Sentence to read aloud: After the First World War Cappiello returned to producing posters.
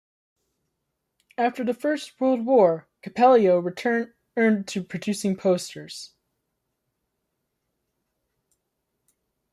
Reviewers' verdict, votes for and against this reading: rejected, 0, 2